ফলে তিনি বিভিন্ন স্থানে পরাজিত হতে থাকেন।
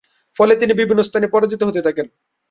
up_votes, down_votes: 7, 7